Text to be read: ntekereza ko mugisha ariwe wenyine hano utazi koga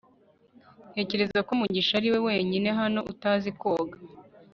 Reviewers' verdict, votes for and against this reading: accepted, 2, 0